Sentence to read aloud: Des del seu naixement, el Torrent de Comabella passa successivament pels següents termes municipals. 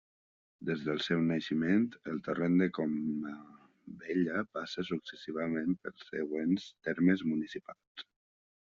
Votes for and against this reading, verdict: 0, 2, rejected